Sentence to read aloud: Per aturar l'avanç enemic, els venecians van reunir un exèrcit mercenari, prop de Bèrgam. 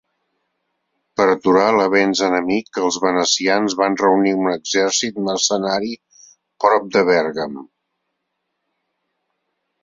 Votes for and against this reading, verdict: 2, 3, rejected